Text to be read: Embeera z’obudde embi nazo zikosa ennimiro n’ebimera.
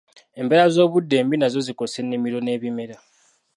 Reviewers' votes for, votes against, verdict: 1, 2, rejected